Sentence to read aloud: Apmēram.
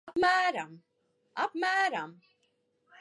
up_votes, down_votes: 0, 2